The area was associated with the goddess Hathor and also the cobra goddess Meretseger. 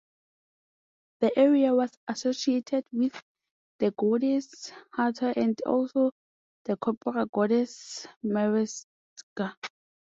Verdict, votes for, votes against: rejected, 0, 2